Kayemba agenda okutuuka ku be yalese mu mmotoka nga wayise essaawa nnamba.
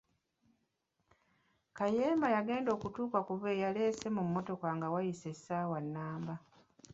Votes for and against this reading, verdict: 1, 2, rejected